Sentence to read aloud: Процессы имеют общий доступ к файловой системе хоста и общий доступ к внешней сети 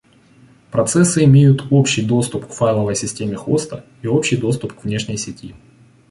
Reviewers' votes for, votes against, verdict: 2, 0, accepted